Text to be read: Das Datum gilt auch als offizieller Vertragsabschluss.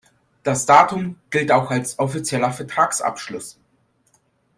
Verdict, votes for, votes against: accepted, 2, 0